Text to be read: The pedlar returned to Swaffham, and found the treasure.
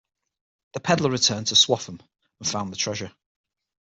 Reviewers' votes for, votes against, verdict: 6, 0, accepted